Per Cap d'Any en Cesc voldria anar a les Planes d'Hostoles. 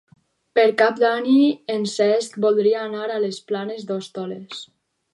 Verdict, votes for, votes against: rejected, 4, 4